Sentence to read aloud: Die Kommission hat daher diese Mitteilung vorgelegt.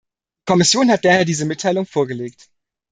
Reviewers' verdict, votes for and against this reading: rejected, 0, 2